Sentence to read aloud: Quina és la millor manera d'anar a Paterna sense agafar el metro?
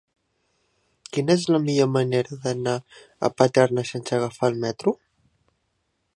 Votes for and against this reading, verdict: 3, 1, accepted